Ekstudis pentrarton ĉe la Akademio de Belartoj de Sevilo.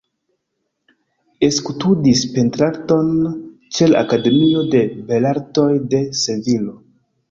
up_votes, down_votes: 1, 3